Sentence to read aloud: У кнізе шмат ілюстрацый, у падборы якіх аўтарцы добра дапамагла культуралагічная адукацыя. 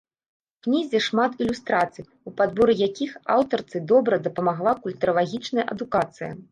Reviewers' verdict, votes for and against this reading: rejected, 1, 2